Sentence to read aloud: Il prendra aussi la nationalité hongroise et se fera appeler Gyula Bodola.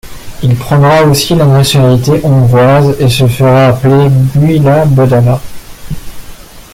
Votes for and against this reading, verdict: 2, 0, accepted